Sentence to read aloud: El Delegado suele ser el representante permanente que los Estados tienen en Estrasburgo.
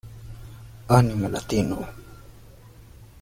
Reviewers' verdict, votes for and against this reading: rejected, 0, 2